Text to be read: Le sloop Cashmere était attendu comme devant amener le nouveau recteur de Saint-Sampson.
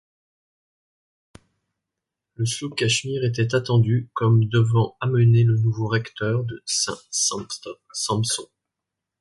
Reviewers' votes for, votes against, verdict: 1, 2, rejected